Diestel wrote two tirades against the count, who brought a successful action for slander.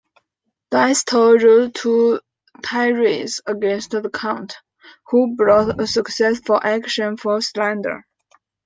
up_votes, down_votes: 2, 0